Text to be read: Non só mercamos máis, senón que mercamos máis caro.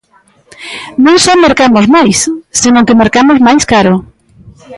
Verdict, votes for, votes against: accepted, 3, 1